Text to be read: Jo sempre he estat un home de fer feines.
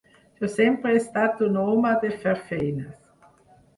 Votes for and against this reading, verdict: 6, 2, accepted